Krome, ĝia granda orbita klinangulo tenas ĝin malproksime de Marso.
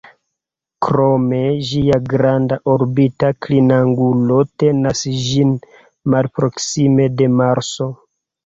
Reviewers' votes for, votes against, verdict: 1, 2, rejected